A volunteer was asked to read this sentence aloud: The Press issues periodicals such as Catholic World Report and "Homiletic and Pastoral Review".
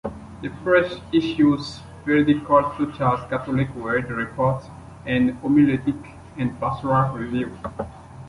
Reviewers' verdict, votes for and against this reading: rejected, 0, 2